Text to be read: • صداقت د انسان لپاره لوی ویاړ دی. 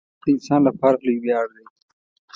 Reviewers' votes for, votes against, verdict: 1, 2, rejected